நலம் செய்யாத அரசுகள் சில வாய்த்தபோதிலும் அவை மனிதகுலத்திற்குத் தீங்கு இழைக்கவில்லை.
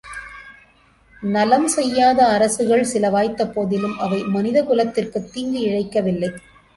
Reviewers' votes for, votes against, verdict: 2, 1, accepted